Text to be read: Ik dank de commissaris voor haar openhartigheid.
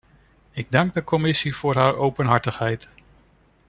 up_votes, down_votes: 0, 2